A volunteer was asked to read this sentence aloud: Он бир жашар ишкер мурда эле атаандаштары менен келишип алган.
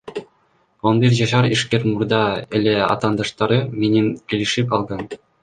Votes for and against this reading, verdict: 2, 0, accepted